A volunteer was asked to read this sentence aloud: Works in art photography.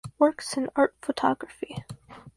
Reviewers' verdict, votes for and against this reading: accepted, 6, 0